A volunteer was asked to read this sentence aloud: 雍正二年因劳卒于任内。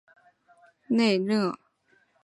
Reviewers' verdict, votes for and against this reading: rejected, 1, 3